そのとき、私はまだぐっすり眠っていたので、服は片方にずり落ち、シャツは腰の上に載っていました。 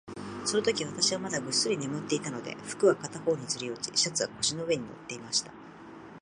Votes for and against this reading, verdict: 2, 0, accepted